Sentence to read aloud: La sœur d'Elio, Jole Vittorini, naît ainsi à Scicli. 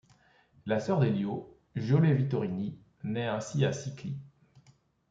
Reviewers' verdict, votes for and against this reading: accepted, 2, 0